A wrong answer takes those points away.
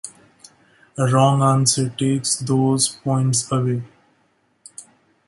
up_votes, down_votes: 2, 0